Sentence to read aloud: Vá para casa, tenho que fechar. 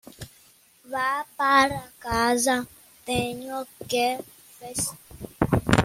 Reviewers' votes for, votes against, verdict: 0, 2, rejected